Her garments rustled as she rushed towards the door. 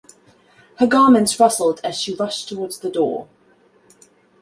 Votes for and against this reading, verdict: 2, 0, accepted